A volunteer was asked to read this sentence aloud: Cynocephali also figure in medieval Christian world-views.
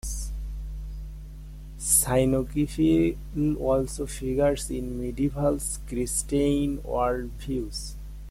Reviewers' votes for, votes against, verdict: 0, 2, rejected